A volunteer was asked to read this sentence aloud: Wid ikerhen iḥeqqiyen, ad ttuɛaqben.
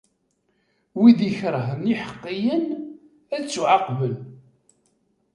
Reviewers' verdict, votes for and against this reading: accepted, 2, 0